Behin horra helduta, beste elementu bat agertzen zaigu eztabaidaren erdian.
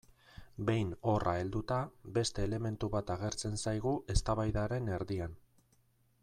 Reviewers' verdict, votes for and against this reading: accepted, 2, 0